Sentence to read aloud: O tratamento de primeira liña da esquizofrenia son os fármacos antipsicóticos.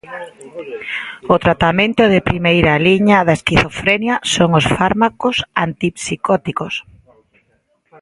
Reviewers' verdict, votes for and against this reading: accepted, 2, 0